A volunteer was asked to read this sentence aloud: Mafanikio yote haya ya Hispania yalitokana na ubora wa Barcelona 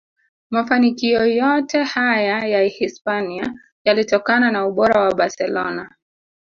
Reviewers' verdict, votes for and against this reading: rejected, 0, 2